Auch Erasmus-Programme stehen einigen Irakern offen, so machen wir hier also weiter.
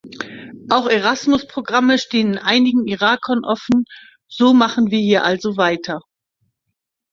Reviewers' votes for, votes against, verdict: 3, 0, accepted